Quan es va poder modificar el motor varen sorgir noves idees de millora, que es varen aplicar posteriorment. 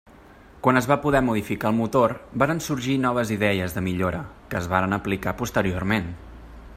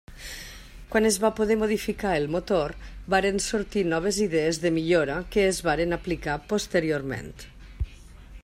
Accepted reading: first